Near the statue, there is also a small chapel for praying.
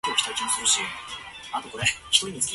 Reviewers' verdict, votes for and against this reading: rejected, 0, 2